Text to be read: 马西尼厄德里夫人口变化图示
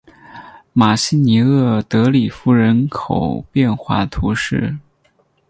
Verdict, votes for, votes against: accepted, 6, 0